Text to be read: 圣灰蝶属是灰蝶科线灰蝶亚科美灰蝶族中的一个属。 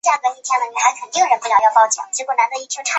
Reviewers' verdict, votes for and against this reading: rejected, 1, 2